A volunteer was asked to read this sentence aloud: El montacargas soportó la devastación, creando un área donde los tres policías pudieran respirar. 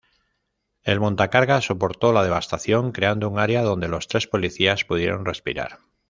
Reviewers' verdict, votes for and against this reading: rejected, 1, 2